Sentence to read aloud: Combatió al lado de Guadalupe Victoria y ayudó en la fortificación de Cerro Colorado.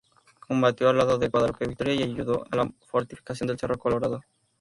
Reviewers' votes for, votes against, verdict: 0, 2, rejected